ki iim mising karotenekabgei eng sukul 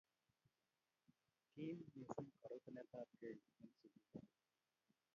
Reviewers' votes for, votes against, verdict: 0, 2, rejected